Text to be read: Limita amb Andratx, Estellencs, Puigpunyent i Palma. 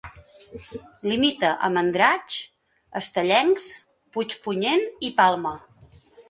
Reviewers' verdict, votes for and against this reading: accepted, 2, 0